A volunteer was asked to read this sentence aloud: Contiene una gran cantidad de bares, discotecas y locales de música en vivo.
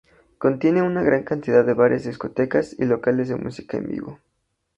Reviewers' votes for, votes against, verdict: 2, 0, accepted